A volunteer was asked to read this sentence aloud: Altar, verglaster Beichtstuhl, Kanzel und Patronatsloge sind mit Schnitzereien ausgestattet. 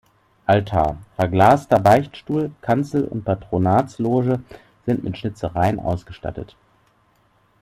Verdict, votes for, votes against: rejected, 1, 2